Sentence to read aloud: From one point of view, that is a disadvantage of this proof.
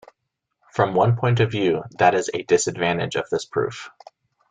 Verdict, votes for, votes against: accepted, 2, 0